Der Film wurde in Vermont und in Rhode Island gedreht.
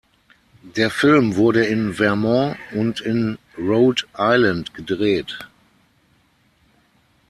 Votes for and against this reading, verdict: 0, 6, rejected